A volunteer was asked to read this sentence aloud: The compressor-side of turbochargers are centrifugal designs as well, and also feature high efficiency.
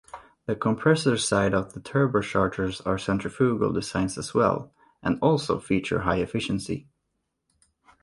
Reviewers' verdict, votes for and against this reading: rejected, 1, 2